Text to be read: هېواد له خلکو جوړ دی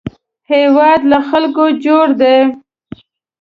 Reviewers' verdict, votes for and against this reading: accepted, 2, 0